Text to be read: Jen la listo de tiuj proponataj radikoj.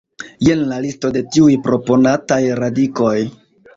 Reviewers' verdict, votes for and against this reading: accepted, 2, 0